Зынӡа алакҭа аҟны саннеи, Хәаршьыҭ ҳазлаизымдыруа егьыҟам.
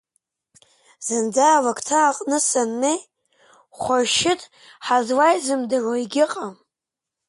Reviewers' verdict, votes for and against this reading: accepted, 2, 0